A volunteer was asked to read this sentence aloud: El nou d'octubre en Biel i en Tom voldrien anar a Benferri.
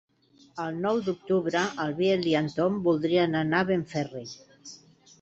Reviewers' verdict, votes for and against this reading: rejected, 1, 2